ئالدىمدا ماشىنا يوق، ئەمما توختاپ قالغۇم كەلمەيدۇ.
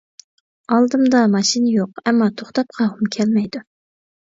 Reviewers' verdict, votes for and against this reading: rejected, 0, 2